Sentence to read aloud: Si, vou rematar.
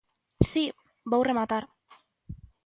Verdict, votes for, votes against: accepted, 2, 0